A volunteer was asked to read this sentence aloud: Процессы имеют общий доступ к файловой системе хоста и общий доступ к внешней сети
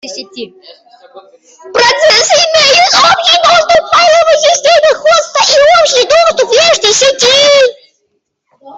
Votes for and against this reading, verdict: 0, 2, rejected